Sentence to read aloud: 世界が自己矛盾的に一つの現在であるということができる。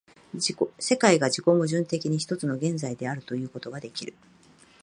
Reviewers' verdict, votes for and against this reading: rejected, 1, 2